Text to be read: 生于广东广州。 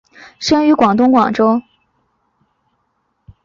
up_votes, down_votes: 2, 0